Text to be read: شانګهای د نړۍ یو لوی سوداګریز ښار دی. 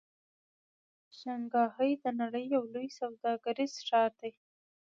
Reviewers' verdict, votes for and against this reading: rejected, 1, 2